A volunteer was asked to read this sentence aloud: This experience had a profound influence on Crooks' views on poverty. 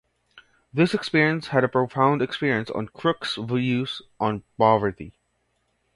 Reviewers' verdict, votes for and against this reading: accepted, 2, 0